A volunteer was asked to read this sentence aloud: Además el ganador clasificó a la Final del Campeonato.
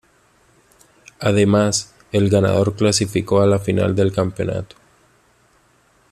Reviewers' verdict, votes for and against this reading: accepted, 2, 0